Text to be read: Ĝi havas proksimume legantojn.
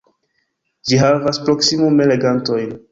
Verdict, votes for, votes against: rejected, 1, 2